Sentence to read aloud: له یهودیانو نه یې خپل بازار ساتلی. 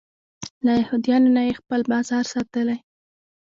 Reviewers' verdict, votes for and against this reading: rejected, 0, 2